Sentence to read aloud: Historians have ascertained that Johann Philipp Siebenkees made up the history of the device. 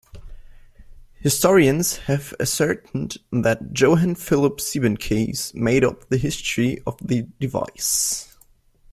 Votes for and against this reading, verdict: 2, 0, accepted